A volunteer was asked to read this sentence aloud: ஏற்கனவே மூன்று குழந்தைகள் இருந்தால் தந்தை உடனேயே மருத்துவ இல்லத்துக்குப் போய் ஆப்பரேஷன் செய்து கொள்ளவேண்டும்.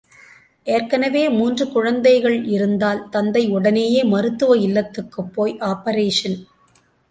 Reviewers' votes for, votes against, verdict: 0, 2, rejected